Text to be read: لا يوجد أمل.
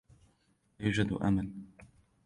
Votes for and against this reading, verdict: 2, 0, accepted